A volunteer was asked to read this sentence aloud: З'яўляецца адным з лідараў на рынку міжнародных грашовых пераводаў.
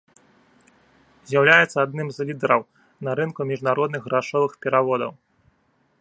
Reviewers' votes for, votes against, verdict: 2, 0, accepted